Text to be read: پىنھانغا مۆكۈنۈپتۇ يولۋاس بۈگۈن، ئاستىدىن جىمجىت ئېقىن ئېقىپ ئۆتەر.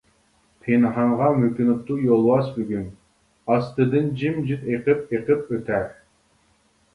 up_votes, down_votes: 0, 2